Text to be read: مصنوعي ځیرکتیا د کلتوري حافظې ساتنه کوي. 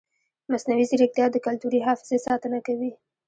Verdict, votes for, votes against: rejected, 1, 2